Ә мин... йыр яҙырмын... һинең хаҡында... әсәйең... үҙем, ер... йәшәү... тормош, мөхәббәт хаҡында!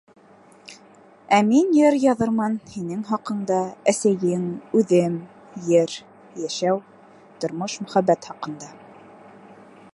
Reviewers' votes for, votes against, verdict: 2, 0, accepted